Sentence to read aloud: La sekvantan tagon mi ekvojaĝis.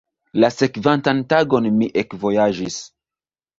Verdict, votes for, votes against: rejected, 1, 2